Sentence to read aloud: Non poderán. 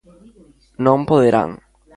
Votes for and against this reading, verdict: 2, 0, accepted